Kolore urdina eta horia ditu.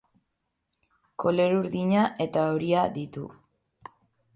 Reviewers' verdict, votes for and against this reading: rejected, 3, 6